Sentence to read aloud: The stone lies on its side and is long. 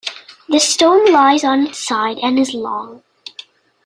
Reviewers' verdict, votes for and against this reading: accepted, 2, 0